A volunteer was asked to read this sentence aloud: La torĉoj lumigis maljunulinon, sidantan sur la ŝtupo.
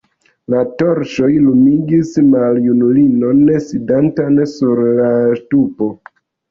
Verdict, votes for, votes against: rejected, 1, 2